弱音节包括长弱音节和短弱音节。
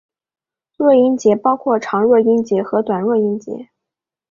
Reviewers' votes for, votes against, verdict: 3, 0, accepted